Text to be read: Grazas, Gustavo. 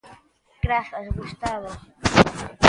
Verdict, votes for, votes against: accepted, 2, 0